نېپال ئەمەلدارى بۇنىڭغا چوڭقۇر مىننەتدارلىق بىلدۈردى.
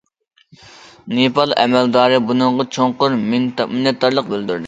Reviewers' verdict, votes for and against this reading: rejected, 0, 2